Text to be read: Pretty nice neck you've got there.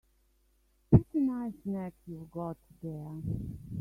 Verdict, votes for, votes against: rejected, 1, 2